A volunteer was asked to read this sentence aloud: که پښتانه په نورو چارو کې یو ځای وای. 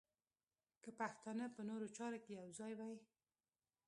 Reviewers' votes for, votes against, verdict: 0, 2, rejected